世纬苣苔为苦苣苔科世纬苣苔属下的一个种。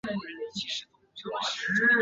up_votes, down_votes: 0, 2